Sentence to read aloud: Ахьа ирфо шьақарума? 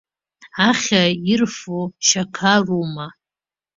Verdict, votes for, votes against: rejected, 1, 2